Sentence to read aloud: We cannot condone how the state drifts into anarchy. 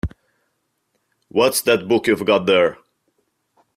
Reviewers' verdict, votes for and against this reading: rejected, 0, 2